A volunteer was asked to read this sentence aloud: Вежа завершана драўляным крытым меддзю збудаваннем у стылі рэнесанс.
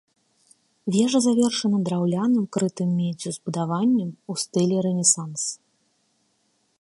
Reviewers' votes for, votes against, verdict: 2, 0, accepted